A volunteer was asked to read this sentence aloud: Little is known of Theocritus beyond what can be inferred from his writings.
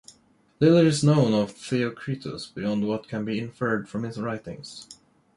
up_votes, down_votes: 2, 0